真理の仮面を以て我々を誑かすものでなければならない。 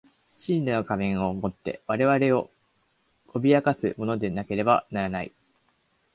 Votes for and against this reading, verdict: 1, 2, rejected